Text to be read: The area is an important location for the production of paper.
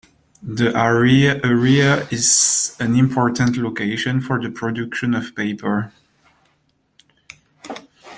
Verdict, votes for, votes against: rejected, 0, 2